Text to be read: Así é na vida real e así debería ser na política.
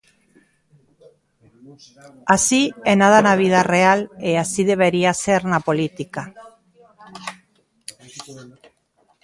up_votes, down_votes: 0, 2